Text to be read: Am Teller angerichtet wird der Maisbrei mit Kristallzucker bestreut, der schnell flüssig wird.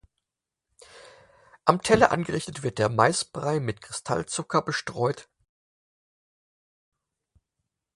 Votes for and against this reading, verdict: 0, 4, rejected